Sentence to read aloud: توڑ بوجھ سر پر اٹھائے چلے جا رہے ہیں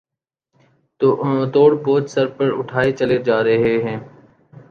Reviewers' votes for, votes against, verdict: 1, 2, rejected